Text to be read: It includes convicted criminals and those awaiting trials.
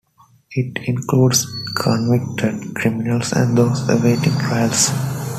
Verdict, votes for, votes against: accepted, 2, 0